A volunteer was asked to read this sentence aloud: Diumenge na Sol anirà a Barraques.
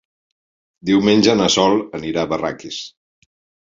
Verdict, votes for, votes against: accepted, 3, 0